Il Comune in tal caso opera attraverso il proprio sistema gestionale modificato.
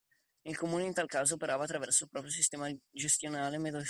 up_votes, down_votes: 0, 2